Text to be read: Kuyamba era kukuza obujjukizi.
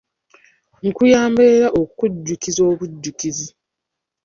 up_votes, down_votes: 1, 2